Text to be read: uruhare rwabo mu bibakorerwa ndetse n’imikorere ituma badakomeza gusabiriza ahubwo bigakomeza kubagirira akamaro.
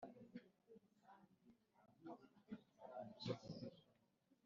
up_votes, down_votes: 0, 2